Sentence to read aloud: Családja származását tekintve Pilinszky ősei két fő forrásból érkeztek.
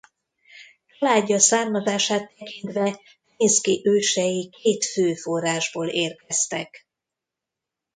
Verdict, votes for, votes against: rejected, 1, 2